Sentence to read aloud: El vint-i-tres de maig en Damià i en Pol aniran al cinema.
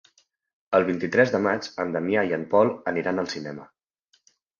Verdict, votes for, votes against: accepted, 4, 0